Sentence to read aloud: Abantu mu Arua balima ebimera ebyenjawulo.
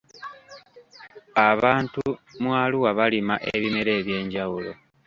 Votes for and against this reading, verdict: 2, 1, accepted